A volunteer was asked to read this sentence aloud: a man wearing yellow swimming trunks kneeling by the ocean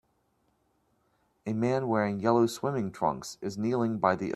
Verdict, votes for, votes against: rejected, 1, 3